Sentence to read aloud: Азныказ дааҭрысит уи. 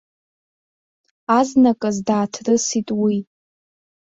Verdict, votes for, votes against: accepted, 2, 0